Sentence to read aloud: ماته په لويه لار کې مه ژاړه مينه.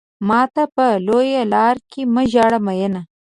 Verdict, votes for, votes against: accepted, 2, 0